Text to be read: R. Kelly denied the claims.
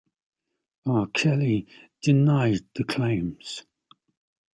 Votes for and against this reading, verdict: 2, 0, accepted